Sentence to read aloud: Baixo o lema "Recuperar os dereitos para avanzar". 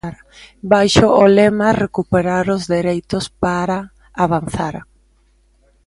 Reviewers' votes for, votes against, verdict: 0, 2, rejected